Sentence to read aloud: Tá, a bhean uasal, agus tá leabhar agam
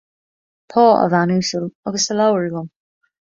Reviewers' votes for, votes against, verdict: 2, 0, accepted